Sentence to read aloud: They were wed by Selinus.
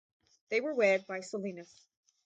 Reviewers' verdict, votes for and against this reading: rejected, 2, 2